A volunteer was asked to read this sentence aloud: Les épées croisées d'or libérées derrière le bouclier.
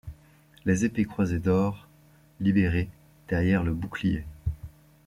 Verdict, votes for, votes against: accepted, 2, 0